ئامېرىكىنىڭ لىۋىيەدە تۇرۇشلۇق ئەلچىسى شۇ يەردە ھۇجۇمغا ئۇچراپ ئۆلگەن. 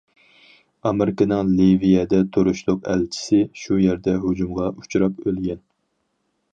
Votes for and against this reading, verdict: 4, 0, accepted